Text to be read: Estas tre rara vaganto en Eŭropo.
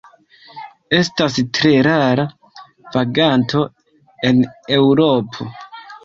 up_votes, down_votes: 2, 1